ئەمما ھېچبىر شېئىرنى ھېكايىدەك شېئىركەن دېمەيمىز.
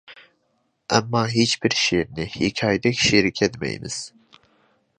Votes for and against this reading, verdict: 2, 0, accepted